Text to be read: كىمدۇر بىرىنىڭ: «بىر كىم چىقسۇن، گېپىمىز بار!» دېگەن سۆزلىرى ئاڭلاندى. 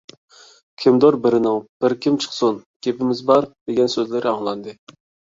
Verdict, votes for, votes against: accepted, 2, 0